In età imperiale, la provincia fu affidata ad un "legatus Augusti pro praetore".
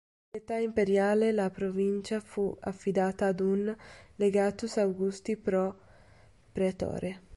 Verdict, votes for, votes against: accepted, 3, 1